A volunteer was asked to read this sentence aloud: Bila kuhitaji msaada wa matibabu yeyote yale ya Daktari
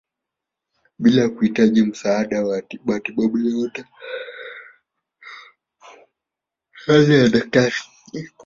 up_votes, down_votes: 1, 2